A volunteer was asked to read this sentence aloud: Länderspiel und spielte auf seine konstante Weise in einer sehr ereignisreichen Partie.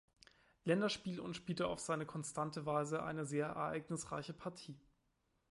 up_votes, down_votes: 0, 2